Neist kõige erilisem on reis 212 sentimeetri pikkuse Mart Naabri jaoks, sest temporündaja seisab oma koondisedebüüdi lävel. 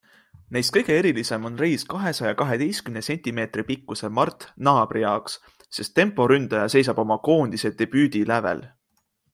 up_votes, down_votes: 0, 2